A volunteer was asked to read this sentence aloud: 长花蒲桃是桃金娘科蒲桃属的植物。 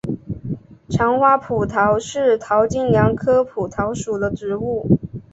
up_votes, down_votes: 2, 1